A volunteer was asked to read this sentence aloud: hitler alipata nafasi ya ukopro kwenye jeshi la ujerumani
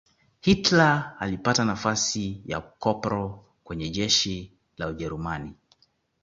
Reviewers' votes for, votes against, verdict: 2, 0, accepted